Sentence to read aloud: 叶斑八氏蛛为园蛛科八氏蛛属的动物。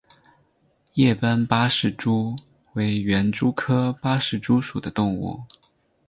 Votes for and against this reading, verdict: 6, 0, accepted